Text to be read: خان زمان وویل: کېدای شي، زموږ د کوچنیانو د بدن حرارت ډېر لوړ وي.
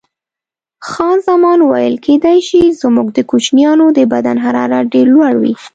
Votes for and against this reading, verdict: 2, 0, accepted